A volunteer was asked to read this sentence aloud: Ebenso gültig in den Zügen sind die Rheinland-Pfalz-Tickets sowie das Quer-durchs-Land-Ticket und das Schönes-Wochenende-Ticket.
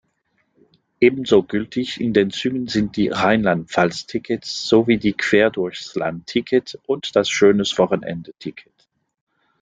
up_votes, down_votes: 0, 2